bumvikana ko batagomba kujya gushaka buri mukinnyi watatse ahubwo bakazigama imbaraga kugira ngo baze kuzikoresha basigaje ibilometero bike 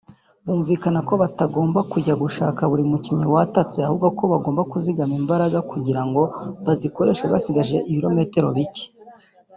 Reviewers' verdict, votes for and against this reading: rejected, 1, 2